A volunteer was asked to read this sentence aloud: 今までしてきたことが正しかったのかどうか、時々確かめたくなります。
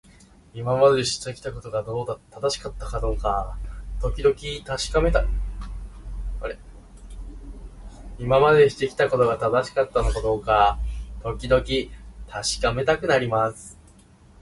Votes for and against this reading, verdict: 1, 2, rejected